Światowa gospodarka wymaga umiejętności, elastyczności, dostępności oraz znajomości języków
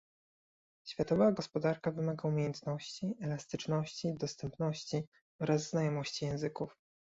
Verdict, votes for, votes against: accepted, 2, 0